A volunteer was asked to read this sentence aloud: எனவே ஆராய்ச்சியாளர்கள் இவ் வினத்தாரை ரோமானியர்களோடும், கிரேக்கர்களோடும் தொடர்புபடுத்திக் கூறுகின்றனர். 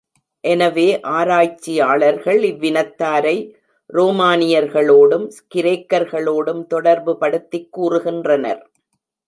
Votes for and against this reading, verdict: 2, 0, accepted